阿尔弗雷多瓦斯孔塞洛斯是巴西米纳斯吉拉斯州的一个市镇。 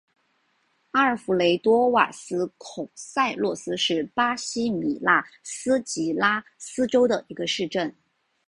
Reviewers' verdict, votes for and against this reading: accepted, 2, 0